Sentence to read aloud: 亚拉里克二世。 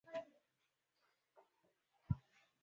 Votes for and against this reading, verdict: 0, 2, rejected